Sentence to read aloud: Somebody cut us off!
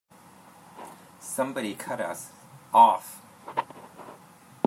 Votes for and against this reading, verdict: 1, 2, rejected